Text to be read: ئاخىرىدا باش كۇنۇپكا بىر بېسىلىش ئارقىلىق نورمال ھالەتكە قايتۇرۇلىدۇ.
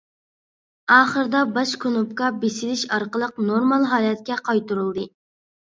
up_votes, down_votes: 0, 2